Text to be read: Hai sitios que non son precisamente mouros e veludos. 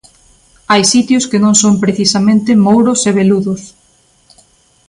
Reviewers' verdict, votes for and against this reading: accepted, 2, 0